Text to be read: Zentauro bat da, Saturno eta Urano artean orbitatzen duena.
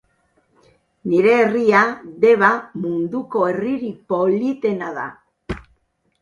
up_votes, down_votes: 0, 4